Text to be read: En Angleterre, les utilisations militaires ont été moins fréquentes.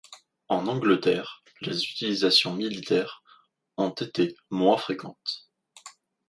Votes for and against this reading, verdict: 2, 0, accepted